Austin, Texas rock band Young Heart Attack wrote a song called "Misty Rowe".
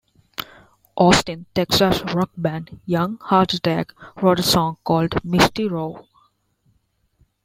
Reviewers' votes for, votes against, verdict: 2, 0, accepted